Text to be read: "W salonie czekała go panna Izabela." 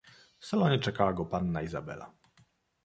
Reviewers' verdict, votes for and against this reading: accepted, 2, 0